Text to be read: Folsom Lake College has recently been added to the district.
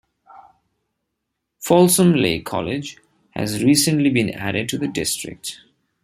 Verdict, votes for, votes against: accepted, 2, 0